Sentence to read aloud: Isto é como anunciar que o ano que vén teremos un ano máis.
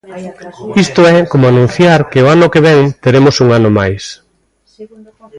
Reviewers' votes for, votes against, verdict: 1, 2, rejected